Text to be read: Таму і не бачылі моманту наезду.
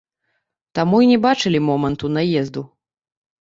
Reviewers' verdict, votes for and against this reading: rejected, 1, 2